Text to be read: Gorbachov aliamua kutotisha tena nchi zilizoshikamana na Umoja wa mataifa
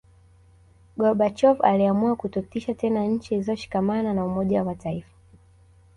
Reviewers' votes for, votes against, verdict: 2, 0, accepted